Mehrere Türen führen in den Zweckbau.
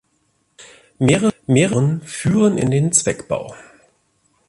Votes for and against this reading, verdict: 0, 2, rejected